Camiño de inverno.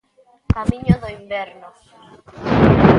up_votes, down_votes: 0, 2